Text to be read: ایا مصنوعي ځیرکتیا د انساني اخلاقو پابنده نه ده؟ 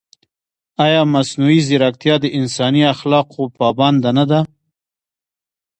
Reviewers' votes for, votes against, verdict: 1, 2, rejected